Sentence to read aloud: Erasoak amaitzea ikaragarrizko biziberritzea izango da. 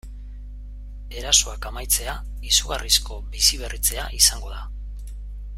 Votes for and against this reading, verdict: 0, 2, rejected